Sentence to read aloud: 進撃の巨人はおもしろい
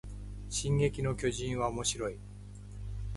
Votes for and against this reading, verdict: 1, 2, rejected